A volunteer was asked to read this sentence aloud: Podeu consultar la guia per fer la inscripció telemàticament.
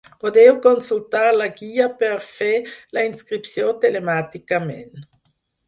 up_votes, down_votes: 6, 0